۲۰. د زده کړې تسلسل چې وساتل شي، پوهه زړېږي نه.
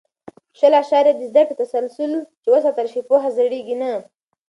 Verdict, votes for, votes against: rejected, 0, 2